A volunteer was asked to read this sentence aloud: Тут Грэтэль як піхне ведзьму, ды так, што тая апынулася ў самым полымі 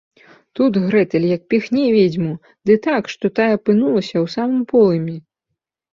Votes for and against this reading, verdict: 2, 0, accepted